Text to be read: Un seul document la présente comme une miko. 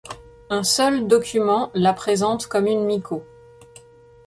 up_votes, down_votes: 2, 0